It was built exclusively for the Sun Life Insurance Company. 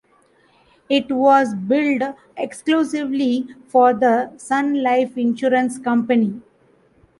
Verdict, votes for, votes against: accepted, 2, 0